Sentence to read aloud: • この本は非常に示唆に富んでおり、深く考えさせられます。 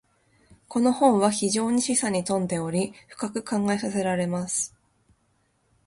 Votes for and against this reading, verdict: 2, 0, accepted